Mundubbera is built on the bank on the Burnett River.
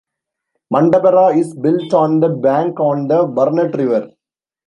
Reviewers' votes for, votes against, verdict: 0, 2, rejected